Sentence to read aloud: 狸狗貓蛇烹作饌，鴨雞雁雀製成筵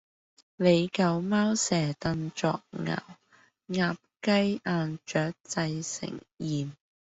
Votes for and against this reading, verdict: 0, 2, rejected